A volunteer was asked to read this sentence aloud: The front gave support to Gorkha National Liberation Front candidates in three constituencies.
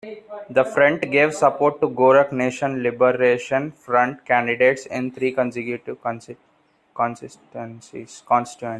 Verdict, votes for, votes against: rejected, 0, 2